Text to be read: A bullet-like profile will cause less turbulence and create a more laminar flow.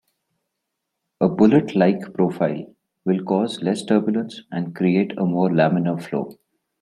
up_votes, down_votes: 2, 0